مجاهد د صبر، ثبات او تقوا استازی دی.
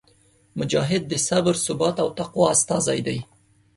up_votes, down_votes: 2, 0